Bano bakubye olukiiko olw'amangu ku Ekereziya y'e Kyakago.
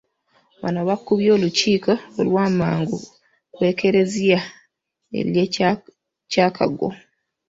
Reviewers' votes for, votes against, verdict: 1, 2, rejected